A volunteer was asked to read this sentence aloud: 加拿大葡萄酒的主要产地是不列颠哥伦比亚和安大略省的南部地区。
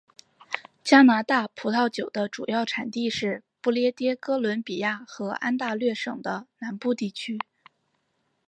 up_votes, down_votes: 2, 0